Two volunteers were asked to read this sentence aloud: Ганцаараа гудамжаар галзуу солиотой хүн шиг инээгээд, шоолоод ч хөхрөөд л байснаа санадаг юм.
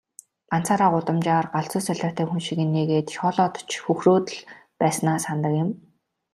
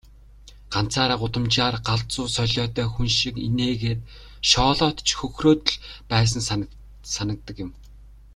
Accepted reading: first